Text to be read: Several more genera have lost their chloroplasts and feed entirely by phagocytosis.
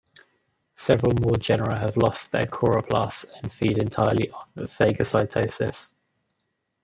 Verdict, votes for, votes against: rejected, 0, 2